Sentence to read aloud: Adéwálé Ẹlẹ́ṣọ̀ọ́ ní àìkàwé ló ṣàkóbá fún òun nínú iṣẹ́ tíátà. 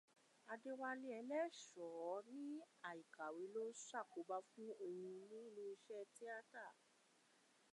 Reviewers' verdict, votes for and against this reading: accepted, 2, 1